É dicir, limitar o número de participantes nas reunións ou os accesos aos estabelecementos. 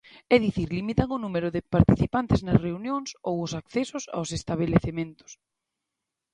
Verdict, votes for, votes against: accepted, 2, 0